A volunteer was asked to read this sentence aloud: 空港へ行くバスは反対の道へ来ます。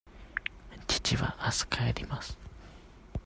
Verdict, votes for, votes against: rejected, 0, 2